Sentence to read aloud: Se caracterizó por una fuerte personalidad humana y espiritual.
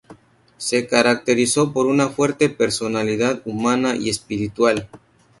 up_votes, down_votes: 0, 2